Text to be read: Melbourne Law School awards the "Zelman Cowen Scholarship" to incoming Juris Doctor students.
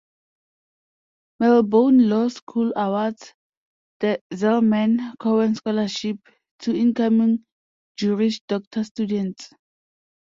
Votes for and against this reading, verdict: 2, 0, accepted